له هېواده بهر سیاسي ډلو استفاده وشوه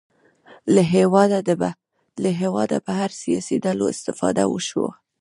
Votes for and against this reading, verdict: 1, 2, rejected